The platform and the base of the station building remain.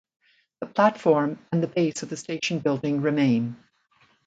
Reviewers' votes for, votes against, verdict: 2, 0, accepted